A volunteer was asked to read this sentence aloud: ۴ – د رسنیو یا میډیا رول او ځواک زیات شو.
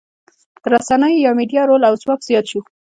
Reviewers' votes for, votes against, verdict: 0, 2, rejected